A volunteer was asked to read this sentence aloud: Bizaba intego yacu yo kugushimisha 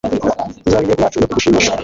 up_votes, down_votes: 1, 2